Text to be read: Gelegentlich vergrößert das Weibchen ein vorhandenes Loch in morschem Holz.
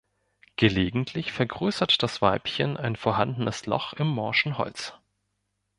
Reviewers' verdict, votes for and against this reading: rejected, 0, 2